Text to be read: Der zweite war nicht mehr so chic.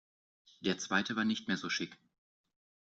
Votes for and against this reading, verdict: 2, 0, accepted